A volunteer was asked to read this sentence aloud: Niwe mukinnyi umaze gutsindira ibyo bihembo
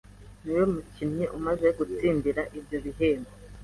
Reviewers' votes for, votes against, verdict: 2, 0, accepted